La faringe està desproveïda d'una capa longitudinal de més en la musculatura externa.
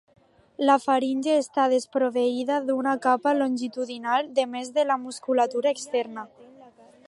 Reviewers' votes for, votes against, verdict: 1, 2, rejected